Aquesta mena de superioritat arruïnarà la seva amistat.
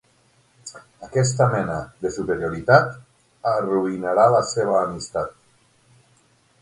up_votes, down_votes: 3, 6